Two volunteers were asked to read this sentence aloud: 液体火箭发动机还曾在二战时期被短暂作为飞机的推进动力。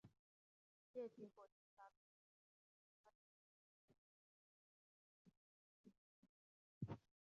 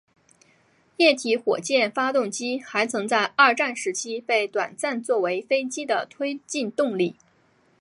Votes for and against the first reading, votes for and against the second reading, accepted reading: 1, 2, 6, 2, second